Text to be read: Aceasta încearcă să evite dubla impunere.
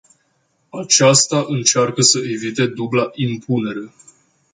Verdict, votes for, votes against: accepted, 2, 0